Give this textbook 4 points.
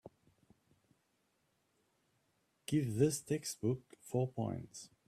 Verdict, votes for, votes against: rejected, 0, 2